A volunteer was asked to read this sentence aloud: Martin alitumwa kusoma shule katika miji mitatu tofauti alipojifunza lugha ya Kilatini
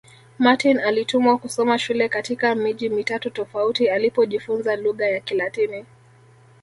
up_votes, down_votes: 2, 0